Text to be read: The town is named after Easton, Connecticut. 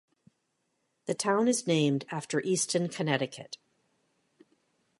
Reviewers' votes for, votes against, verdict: 3, 0, accepted